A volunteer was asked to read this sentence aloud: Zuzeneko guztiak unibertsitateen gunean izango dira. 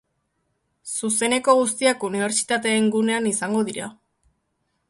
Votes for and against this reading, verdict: 3, 1, accepted